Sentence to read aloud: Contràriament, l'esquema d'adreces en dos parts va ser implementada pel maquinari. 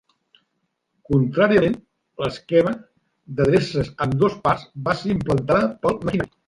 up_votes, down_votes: 0, 2